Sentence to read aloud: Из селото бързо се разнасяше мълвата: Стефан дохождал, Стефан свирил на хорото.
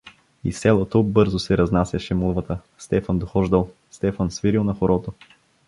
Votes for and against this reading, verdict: 1, 2, rejected